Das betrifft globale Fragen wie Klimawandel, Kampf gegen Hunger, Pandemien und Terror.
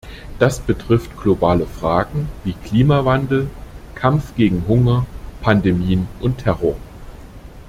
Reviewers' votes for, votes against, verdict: 2, 0, accepted